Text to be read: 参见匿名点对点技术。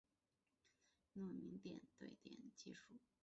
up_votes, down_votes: 1, 6